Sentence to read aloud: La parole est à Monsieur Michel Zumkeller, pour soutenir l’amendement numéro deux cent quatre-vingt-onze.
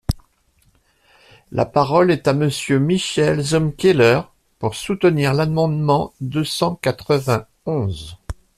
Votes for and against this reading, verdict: 1, 2, rejected